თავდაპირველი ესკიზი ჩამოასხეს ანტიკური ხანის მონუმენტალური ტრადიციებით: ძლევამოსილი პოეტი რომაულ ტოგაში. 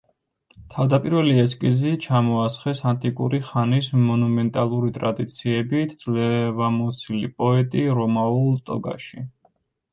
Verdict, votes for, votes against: rejected, 1, 2